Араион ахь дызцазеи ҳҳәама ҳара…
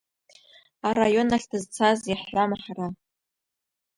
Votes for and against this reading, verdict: 2, 0, accepted